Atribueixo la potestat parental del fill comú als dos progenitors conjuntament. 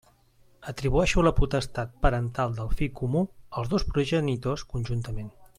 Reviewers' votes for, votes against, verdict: 2, 0, accepted